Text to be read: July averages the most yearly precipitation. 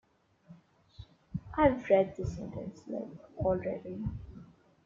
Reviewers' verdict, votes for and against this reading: rejected, 1, 2